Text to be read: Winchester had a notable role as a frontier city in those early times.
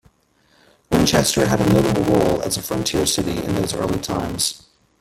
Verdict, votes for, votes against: accepted, 2, 1